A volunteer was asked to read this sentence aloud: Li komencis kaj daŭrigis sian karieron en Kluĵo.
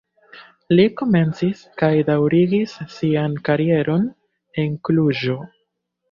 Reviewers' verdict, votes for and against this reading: accepted, 2, 1